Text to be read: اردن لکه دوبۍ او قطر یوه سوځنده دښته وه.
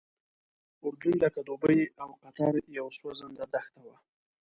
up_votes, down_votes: 2, 1